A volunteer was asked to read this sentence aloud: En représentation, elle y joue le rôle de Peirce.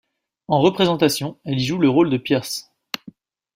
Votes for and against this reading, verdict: 2, 0, accepted